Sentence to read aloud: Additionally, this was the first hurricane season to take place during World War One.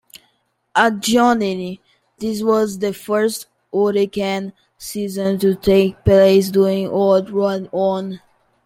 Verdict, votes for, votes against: accepted, 2, 1